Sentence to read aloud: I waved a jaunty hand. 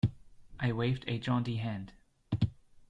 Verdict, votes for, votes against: accepted, 2, 0